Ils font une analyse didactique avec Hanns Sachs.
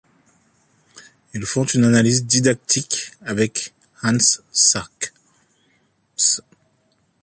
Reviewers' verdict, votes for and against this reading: rejected, 0, 2